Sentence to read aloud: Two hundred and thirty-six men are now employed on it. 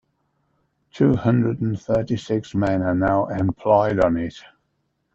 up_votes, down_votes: 2, 1